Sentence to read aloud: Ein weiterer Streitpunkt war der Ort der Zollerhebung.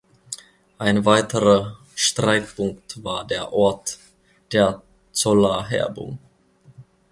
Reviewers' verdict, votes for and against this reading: rejected, 1, 2